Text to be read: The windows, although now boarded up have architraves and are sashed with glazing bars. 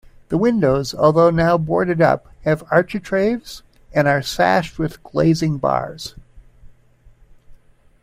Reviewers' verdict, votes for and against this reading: accepted, 2, 0